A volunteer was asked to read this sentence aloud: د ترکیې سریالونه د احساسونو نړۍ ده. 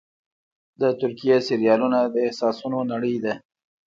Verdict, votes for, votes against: rejected, 1, 2